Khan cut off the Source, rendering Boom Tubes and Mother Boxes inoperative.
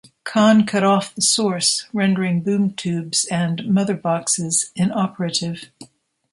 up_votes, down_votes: 2, 0